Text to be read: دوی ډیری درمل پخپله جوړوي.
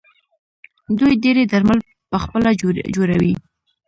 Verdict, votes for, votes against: rejected, 0, 2